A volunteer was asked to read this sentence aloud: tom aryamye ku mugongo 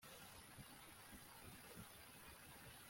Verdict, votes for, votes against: rejected, 0, 2